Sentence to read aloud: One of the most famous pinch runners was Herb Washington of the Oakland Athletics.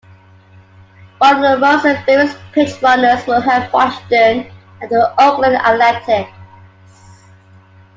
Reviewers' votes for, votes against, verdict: 1, 2, rejected